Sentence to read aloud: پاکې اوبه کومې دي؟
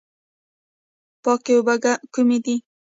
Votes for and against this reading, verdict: 1, 2, rejected